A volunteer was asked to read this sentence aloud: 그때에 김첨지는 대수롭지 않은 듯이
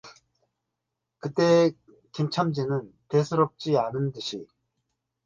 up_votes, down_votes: 0, 2